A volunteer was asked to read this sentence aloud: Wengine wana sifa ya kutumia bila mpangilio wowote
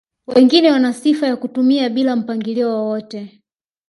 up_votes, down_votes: 3, 0